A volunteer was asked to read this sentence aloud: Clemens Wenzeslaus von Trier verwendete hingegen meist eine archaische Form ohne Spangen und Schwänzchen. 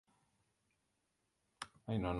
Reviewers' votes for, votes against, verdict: 0, 2, rejected